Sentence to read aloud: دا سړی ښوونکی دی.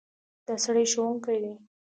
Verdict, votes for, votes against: accepted, 2, 0